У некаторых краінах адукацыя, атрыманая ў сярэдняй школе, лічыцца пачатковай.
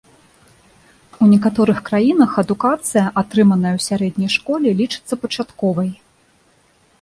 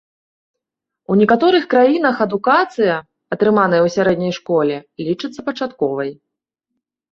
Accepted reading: second